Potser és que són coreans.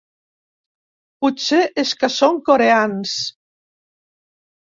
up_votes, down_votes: 3, 0